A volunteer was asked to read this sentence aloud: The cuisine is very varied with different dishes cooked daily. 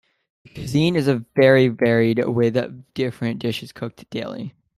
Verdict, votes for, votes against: rejected, 1, 2